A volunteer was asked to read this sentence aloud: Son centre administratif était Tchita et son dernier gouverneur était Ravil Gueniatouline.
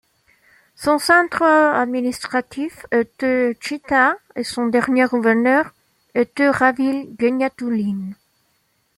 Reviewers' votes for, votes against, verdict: 2, 1, accepted